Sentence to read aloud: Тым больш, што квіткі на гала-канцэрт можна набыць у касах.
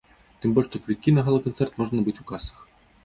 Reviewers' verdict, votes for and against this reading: accepted, 2, 0